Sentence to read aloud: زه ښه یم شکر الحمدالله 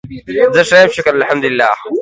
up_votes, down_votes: 2, 1